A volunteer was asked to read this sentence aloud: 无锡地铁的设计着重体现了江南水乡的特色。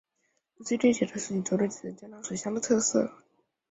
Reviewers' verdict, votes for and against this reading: rejected, 1, 3